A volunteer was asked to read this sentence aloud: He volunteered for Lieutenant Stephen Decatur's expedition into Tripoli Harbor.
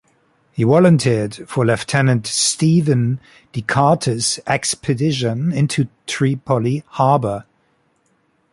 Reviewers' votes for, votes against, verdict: 2, 0, accepted